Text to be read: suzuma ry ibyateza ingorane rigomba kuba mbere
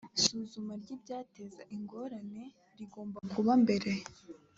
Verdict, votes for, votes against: accepted, 2, 1